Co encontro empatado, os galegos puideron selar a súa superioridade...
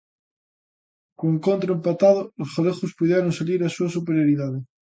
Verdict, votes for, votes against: rejected, 0, 2